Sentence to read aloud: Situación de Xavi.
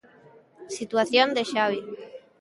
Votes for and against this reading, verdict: 2, 0, accepted